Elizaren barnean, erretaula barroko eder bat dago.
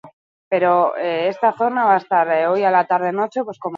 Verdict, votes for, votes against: rejected, 0, 2